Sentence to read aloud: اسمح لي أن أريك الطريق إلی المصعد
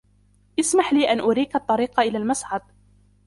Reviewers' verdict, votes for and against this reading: rejected, 1, 2